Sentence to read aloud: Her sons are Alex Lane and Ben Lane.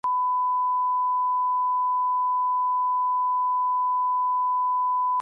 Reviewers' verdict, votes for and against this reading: rejected, 0, 2